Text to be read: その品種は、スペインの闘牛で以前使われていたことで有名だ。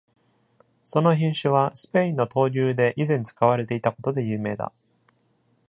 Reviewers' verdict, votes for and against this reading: accepted, 2, 0